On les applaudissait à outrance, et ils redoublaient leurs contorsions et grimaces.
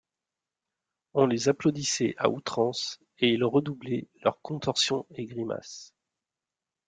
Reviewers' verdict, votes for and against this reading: accepted, 2, 0